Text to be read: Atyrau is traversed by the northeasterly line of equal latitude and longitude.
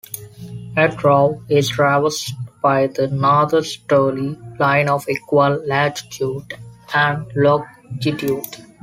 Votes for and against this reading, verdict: 1, 2, rejected